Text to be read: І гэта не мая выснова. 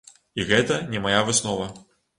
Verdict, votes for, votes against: accepted, 2, 0